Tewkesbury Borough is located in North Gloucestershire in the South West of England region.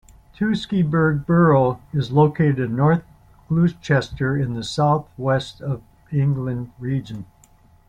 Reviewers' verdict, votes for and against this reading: rejected, 1, 2